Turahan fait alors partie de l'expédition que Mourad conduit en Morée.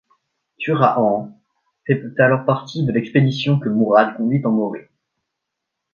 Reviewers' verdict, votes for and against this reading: rejected, 0, 2